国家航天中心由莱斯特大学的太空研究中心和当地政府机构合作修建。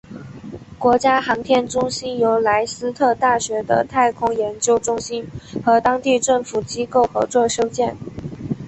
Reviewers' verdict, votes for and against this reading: accepted, 2, 0